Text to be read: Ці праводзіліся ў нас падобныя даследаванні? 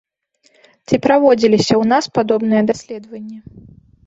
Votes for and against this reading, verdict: 1, 2, rejected